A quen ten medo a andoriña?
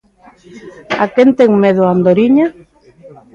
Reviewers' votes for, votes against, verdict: 2, 0, accepted